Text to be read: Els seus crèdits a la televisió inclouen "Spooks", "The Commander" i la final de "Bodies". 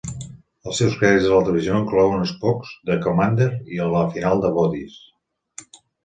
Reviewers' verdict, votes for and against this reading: rejected, 0, 2